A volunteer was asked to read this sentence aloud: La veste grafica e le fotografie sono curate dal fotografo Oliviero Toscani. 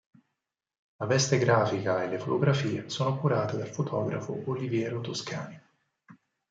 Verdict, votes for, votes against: accepted, 4, 0